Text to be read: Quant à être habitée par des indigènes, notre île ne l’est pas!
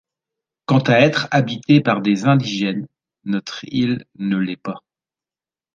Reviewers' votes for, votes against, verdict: 2, 0, accepted